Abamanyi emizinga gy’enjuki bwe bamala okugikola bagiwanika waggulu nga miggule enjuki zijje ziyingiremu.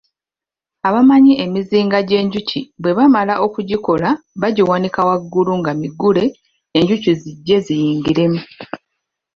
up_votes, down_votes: 1, 2